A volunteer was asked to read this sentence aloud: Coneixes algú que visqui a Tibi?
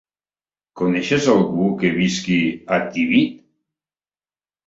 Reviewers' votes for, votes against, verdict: 2, 1, accepted